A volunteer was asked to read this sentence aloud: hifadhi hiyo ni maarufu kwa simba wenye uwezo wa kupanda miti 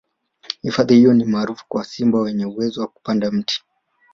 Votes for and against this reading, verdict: 3, 1, accepted